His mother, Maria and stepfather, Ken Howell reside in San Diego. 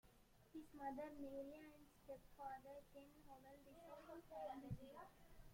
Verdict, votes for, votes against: rejected, 0, 2